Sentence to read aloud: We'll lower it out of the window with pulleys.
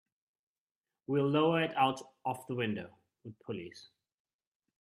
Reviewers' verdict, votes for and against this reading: rejected, 1, 2